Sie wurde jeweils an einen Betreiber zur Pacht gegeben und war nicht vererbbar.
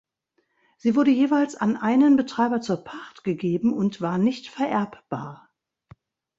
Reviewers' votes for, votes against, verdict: 2, 0, accepted